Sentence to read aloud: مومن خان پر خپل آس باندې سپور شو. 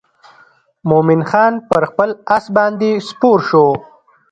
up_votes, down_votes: 0, 2